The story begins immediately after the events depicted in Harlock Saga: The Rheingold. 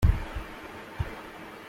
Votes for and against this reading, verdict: 0, 2, rejected